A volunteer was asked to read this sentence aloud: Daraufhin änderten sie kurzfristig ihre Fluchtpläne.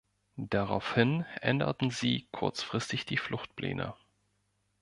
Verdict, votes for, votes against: rejected, 0, 2